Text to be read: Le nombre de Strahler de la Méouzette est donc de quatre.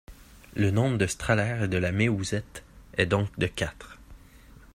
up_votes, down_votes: 2, 0